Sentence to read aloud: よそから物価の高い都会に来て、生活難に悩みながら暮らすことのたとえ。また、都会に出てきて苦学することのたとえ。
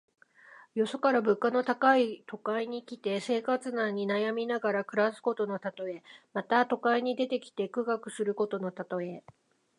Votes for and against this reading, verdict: 2, 0, accepted